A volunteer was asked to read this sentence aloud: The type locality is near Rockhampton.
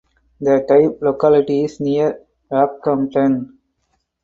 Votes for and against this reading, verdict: 2, 0, accepted